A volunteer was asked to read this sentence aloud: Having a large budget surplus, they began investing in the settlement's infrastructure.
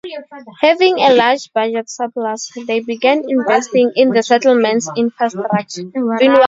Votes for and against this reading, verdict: 0, 2, rejected